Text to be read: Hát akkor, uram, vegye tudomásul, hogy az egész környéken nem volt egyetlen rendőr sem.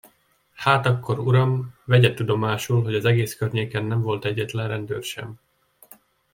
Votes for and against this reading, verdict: 2, 0, accepted